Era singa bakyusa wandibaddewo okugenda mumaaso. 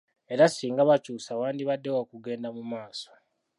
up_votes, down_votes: 2, 1